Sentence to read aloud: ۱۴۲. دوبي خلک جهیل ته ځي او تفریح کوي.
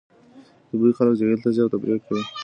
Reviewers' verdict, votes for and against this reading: rejected, 0, 2